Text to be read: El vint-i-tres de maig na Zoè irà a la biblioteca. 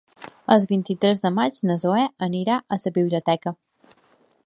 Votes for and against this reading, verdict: 0, 2, rejected